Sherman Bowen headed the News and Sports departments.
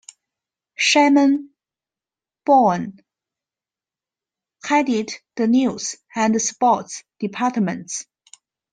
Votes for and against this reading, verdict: 2, 1, accepted